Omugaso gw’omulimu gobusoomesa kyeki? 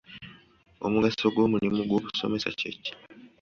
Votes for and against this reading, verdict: 2, 1, accepted